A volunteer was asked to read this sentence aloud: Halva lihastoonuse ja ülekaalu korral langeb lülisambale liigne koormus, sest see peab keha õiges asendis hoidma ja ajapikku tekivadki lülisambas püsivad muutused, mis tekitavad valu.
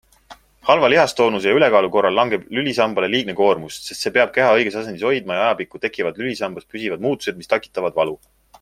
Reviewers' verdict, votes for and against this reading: accepted, 2, 0